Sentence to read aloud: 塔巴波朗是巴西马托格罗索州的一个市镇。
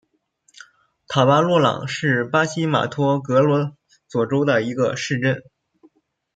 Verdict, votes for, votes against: rejected, 0, 2